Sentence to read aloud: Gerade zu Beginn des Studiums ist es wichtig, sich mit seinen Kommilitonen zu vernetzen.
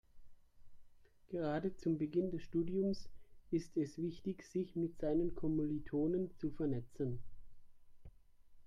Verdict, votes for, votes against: rejected, 0, 2